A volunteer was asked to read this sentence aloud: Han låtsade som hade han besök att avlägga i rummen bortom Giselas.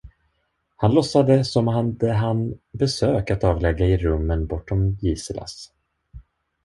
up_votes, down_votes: 0, 2